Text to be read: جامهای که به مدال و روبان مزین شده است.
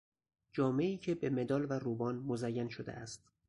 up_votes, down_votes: 2, 2